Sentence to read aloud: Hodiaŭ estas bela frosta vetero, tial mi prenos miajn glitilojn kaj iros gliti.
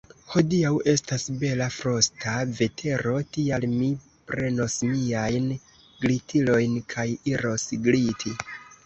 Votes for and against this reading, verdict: 1, 2, rejected